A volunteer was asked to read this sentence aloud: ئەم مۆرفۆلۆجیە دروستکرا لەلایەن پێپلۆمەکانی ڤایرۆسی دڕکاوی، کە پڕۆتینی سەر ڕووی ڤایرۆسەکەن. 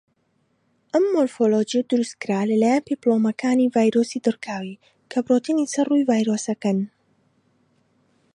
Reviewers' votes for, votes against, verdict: 3, 1, accepted